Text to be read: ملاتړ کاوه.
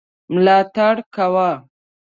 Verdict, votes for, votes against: accepted, 2, 0